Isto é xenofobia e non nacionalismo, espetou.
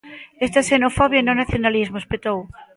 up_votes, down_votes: 2, 0